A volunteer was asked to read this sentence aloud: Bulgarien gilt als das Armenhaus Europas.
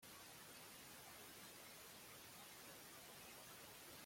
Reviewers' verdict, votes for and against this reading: rejected, 0, 2